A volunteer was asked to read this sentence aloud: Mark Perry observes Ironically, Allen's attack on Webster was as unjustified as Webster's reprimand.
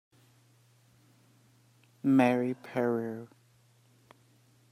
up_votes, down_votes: 0, 2